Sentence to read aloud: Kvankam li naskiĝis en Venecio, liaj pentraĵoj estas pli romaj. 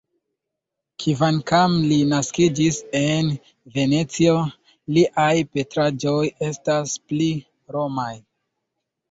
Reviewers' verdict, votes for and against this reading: rejected, 0, 2